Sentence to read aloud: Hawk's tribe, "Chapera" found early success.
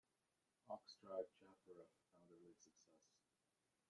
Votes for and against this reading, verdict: 0, 2, rejected